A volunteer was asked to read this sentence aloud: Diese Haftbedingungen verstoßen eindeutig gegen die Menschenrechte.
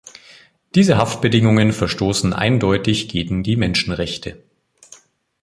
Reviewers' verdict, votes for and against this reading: accepted, 2, 0